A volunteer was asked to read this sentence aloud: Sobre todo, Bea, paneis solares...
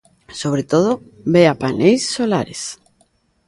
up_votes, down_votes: 2, 0